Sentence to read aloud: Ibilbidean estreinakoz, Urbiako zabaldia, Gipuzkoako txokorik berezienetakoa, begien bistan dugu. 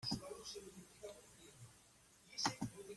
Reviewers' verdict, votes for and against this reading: rejected, 0, 2